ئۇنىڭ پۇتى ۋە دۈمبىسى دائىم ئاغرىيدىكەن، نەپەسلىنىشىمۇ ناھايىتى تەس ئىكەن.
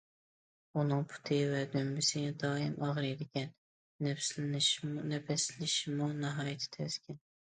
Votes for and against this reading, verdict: 0, 2, rejected